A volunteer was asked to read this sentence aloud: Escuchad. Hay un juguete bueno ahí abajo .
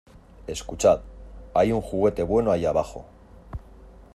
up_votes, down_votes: 2, 0